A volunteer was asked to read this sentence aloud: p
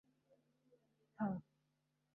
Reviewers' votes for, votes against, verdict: 1, 2, rejected